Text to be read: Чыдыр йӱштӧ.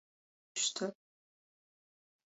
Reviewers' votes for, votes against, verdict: 0, 2, rejected